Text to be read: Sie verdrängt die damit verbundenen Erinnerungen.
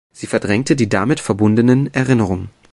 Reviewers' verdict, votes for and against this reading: rejected, 0, 2